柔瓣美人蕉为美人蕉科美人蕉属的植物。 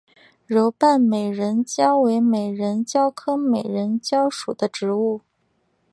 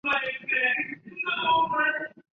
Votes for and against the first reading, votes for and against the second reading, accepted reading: 2, 0, 0, 2, first